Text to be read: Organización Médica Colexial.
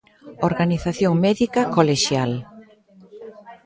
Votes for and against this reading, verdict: 0, 2, rejected